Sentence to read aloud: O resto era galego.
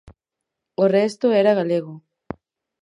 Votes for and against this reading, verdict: 4, 0, accepted